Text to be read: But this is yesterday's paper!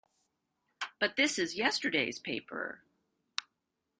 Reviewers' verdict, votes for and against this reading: accepted, 2, 0